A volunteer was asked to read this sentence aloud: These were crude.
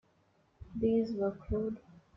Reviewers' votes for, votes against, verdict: 2, 1, accepted